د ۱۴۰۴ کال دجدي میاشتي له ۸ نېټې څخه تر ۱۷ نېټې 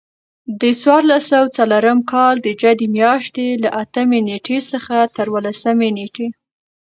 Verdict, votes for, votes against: rejected, 0, 2